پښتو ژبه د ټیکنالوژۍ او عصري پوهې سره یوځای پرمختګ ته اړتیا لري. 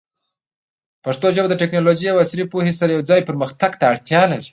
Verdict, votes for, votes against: rejected, 0, 2